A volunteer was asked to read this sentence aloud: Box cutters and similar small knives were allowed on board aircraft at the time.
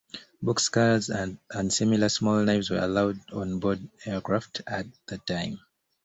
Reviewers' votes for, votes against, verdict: 2, 1, accepted